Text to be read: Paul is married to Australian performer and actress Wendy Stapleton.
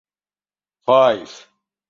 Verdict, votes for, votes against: rejected, 0, 2